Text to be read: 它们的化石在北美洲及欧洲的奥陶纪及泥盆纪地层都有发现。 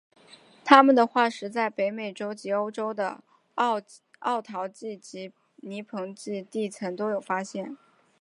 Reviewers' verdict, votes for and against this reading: accepted, 6, 0